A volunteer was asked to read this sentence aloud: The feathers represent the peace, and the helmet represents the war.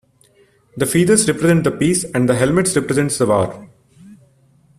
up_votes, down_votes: 0, 2